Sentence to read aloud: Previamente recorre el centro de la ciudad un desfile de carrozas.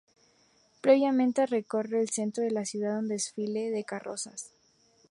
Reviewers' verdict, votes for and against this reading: accepted, 2, 0